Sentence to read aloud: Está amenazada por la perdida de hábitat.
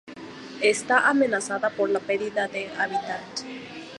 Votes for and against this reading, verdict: 0, 2, rejected